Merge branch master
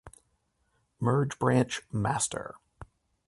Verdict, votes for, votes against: accepted, 2, 0